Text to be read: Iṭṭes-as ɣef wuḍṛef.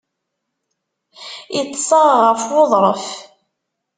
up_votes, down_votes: 1, 2